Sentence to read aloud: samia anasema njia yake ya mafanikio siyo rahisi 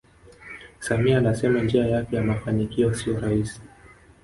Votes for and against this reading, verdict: 2, 0, accepted